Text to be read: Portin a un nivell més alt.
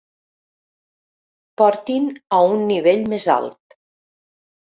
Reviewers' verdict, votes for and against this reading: accepted, 2, 0